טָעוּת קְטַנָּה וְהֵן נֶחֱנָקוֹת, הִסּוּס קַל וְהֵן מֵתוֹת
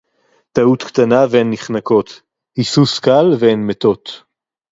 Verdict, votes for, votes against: accepted, 2, 0